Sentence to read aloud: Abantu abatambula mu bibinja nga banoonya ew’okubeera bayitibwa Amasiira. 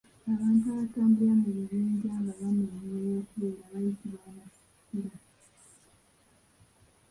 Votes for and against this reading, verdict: 0, 2, rejected